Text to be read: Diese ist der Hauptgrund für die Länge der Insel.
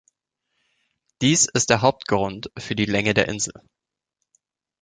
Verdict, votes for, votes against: rejected, 0, 2